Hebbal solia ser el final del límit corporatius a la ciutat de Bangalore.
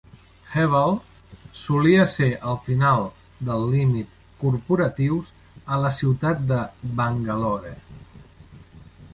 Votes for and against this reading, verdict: 2, 0, accepted